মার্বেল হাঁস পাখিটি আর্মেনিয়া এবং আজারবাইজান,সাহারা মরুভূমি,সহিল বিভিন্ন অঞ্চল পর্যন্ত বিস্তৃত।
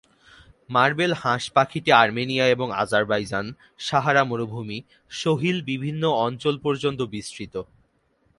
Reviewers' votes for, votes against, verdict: 12, 0, accepted